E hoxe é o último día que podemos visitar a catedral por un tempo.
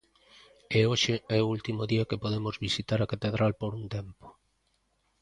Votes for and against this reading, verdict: 2, 0, accepted